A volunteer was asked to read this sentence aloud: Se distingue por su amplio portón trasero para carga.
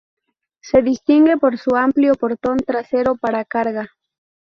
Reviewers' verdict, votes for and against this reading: rejected, 0, 2